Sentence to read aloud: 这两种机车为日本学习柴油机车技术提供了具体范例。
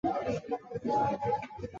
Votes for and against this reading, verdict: 0, 3, rejected